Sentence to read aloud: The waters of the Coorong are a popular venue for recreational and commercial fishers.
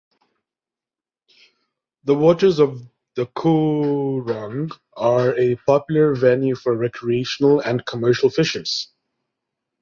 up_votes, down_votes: 2, 3